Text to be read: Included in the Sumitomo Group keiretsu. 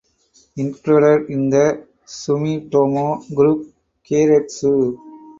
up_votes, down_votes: 2, 4